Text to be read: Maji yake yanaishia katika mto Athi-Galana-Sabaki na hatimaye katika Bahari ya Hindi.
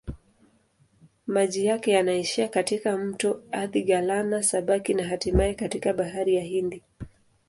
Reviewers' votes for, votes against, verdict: 2, 0, accepted